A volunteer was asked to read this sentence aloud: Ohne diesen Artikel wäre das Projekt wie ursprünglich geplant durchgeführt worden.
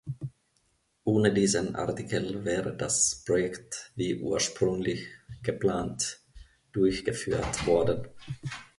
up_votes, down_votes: 1, 2